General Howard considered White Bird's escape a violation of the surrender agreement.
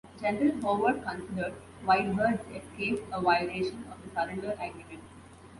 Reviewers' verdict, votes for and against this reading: accepted, 2, 1